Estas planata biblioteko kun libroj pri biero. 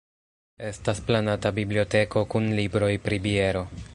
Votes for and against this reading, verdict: 2, 1, accepted